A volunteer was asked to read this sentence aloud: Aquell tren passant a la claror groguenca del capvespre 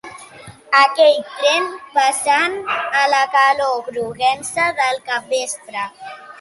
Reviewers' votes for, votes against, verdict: 2, 1, accepted